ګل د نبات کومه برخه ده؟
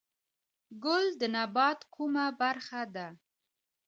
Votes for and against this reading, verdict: 1, 2, rejected